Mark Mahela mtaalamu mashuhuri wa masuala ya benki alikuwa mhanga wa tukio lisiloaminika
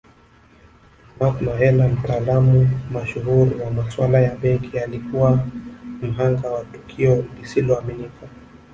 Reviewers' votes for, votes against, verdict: 2, 1, accepted